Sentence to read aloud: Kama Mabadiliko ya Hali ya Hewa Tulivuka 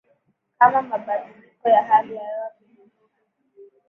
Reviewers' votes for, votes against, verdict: 1, 2, rejected